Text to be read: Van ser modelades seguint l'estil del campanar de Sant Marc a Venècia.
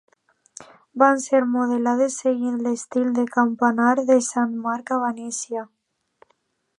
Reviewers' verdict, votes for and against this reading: accepted, 2, 0